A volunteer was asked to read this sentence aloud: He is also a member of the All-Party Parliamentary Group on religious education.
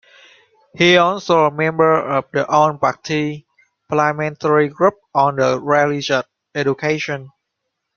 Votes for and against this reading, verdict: 0, 2, rejected